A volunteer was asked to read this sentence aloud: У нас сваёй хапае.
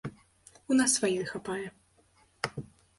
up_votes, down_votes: 2, 0